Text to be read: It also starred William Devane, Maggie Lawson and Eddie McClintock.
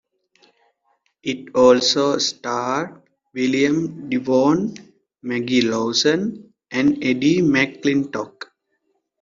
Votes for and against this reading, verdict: 3, 2, accepted